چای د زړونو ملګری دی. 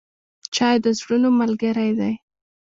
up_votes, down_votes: 1, 2